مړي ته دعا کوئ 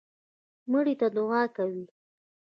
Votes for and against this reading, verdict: 2, 0, accepted